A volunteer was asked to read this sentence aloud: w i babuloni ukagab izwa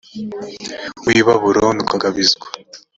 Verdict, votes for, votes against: accepted, 3, 0